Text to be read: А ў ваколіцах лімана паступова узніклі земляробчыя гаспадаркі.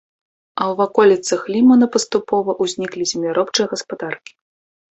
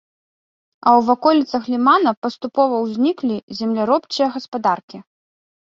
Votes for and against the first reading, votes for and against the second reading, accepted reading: 1, 2, 2, 0, second